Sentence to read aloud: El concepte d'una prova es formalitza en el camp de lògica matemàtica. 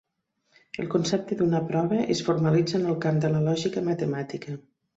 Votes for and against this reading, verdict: 1, 2, rejected